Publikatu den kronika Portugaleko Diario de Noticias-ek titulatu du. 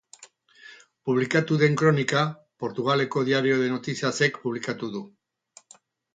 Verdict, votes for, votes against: rejected, 6, 8